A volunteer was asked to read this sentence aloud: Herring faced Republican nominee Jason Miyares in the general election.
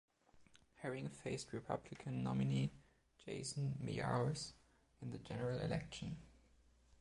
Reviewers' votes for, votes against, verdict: 0, 2, rejected